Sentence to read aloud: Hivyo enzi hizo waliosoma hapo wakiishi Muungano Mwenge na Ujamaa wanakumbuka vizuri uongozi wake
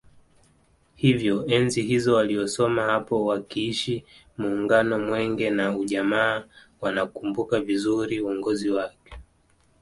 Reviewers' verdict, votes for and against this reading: accepted, 2, 0